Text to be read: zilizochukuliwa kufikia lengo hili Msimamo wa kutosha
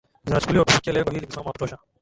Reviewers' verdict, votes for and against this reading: rejected, 1, 2